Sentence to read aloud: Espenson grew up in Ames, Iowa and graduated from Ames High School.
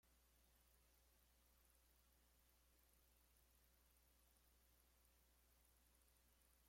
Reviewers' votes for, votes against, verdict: 0, 2, rejected